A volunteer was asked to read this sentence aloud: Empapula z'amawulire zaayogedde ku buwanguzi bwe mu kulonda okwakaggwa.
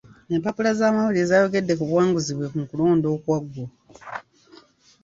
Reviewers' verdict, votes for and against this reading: rejected, 1, 2